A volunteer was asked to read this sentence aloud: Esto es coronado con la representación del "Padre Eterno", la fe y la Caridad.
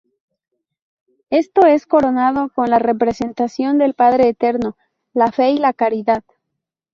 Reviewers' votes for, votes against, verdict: 2, 0, accepted